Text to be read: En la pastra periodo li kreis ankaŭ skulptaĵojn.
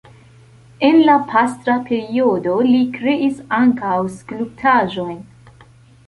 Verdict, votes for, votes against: accepted, 2, 0